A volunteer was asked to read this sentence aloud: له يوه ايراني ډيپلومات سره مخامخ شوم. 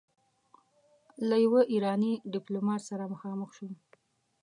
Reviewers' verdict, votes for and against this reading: accepted, 2, 1